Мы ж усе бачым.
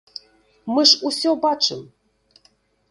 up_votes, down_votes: 0, 2